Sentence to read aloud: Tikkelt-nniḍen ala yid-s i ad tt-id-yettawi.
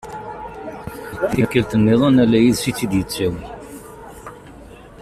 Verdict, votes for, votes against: rejected, 0, 2